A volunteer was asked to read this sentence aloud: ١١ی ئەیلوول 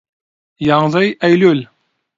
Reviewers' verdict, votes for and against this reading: rejected, 0, 2